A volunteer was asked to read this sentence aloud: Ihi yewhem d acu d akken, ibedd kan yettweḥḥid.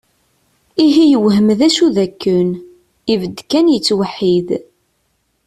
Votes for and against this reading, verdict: 2, 0, accepted